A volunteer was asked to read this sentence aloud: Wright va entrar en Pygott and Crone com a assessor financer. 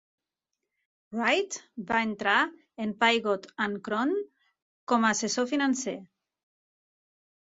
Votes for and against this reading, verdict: 2, 0, accepted